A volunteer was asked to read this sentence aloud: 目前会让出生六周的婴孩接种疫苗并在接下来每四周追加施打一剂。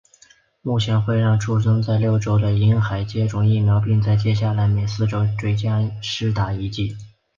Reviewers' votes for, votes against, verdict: 2, 0, accepted